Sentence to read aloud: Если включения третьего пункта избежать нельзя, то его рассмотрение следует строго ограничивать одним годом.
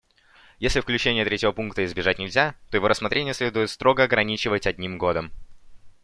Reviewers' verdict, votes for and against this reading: accepted, 2, 0